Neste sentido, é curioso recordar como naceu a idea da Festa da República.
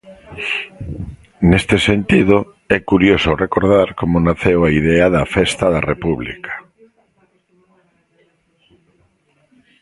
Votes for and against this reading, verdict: 0, 2, rejected